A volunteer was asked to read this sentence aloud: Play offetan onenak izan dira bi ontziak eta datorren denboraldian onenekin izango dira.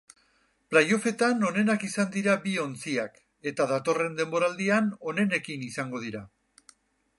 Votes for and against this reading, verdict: 4, 0, accepted